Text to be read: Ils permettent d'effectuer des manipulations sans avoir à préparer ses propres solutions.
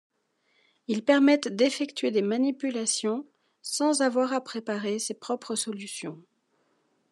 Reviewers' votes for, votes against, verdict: 2, 0, accepted